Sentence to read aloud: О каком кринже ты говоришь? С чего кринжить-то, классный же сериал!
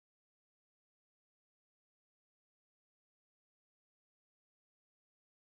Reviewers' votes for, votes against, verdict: 0, 14, rejected